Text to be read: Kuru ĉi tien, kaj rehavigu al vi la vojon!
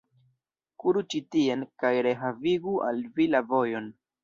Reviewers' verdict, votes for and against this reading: rejected, 1, 2